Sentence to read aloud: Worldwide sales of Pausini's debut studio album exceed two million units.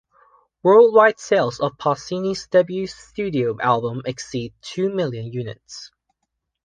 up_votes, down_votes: 2, 0